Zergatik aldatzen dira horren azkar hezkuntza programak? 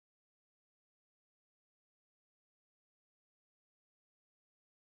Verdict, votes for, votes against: rejected, 0, 4